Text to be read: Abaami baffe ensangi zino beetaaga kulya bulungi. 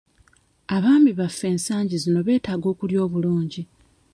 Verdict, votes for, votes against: rejected, 1, 2